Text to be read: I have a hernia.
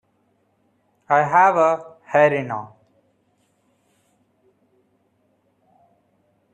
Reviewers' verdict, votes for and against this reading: rejected, 0, 2